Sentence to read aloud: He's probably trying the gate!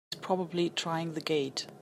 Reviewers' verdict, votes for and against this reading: rejected, 1, 2